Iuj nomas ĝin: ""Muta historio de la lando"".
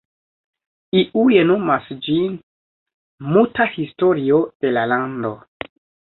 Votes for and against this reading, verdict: 2, 1, accepted